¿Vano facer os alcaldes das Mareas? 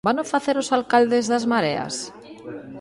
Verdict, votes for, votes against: accepted, 2, 0